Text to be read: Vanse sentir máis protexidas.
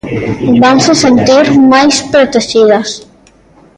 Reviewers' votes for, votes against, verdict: 1, 2, rejected